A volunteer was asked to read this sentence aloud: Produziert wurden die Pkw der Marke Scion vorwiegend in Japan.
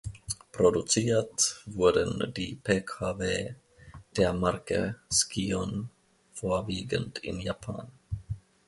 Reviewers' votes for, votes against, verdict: 2, 0, accepted